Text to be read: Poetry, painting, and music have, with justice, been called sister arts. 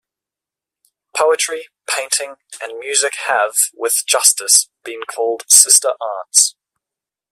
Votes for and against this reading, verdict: 2, 0, accepted